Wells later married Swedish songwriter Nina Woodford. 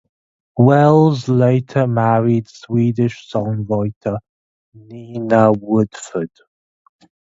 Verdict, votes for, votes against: accepted, 2, 0